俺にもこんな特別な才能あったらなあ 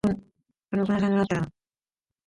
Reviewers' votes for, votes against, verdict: 0, 2, rejected